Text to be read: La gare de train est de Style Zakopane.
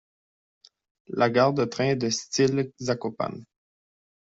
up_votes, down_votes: 2, 0